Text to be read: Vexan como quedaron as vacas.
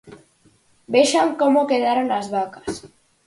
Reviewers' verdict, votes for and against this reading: accepted, 4, 0